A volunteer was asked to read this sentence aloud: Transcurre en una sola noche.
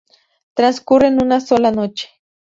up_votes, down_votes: 2, 0